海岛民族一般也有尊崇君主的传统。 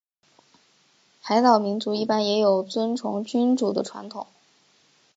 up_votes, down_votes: 6, 0